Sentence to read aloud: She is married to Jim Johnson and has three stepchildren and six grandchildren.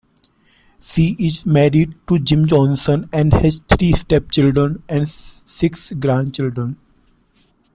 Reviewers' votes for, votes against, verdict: 0, 2, rejected